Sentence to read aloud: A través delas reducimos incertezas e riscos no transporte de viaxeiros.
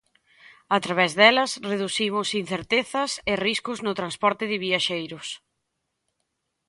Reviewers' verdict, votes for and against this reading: accepted, 4, 0